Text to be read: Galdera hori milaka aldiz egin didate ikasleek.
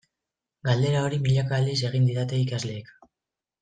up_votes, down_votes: 2, 0